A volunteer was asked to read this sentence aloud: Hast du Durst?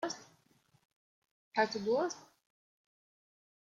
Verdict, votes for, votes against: rejected, 1, 2